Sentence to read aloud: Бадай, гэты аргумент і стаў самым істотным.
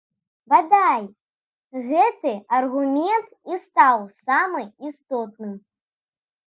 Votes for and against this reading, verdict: 0, 2, rejected